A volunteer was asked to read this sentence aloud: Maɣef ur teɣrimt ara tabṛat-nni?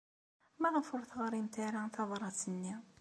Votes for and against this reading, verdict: 2, 1, accepted